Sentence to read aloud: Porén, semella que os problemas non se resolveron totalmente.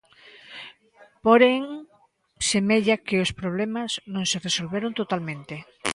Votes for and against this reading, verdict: 2, 1, accepted